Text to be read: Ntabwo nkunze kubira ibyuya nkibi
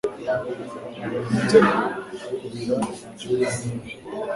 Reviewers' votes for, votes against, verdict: 1, 3, rejected